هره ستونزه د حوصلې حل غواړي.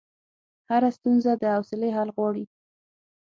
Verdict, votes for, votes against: accepted, 9, 0